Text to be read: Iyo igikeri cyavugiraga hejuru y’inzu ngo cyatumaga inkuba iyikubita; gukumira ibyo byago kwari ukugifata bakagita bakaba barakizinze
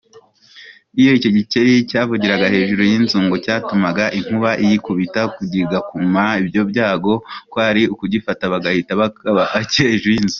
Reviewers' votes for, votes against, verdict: 0, 2, rejected